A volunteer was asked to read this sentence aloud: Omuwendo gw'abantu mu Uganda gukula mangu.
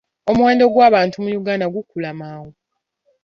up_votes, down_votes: 2, 0